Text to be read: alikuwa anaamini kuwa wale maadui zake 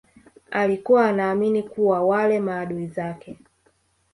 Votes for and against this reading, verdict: 2, 1, accepted